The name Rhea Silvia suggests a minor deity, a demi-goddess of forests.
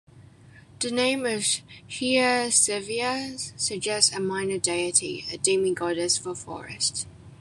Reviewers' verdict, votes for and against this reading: accepted, 2, 1